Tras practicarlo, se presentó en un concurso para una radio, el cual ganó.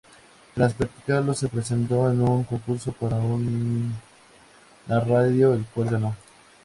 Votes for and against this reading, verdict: 2, 0, accepted